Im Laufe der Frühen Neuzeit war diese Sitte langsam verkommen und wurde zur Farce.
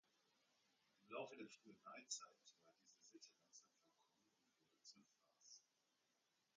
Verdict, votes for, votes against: rejected, 0, 2